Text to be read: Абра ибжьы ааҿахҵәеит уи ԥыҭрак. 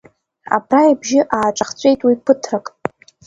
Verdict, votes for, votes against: accepted, 2, 1